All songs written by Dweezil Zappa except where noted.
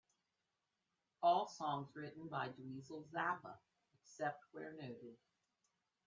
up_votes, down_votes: 0, 2